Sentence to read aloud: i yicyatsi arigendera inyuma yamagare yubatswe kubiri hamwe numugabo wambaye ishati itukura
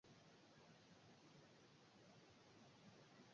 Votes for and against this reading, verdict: 0, 2, rejected